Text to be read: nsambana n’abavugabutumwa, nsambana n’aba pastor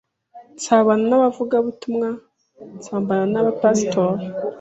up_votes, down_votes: 1, 2